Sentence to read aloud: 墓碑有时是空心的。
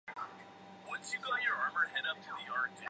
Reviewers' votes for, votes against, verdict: 0, 2, rejected